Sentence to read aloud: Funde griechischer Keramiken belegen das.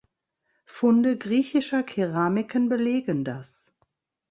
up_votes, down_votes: 2, 0